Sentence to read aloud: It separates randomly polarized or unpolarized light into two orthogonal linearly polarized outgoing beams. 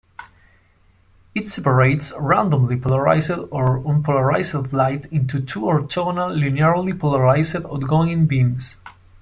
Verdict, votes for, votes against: rejected, 0, 2